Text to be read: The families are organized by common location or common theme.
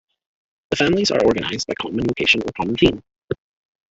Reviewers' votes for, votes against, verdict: 0, 2, rejected